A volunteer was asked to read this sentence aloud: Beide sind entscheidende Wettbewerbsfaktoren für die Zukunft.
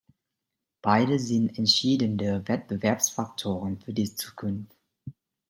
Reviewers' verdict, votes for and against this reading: rejected, 1, 2